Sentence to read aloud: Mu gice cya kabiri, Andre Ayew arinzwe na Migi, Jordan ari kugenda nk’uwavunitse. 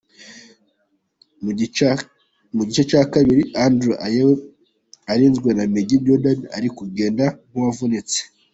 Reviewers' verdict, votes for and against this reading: rejected, 1, 2